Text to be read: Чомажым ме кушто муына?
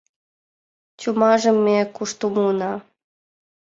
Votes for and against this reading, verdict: 2, 0, accepted